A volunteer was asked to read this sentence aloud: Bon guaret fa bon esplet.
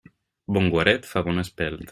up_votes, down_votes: 0, 2